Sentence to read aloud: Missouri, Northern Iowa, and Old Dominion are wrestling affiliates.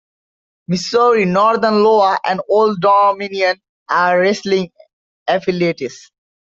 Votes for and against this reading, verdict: 0, 2, rejected